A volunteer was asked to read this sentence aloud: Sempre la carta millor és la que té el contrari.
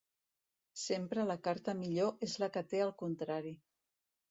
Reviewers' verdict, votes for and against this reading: accepted, 2, 0